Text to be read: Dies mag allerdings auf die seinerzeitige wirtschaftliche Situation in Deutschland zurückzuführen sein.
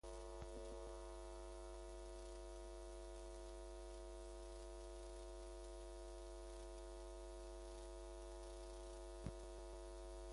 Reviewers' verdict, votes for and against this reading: rejected, 0, 2